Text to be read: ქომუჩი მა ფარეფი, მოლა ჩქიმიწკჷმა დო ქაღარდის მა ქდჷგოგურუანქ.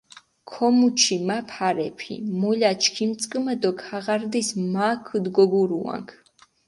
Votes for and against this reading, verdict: 2, 4, rejected